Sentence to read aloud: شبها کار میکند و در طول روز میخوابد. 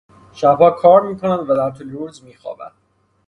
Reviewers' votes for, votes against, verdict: 0, 6, rejected